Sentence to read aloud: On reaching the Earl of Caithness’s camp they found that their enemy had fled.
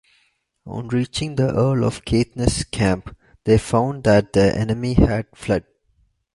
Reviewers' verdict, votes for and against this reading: rejected, 1, 2